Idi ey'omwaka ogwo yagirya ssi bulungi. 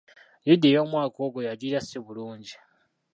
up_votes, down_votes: 1, 2